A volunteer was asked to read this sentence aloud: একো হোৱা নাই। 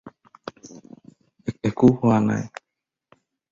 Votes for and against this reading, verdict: 2, 2, rejected